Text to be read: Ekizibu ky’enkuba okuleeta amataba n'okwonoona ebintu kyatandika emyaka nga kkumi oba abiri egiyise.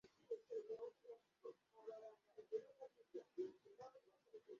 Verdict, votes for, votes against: rejected, 0, 2